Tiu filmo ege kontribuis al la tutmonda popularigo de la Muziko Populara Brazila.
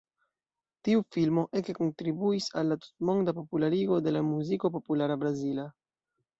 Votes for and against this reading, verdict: 2, 0, accepted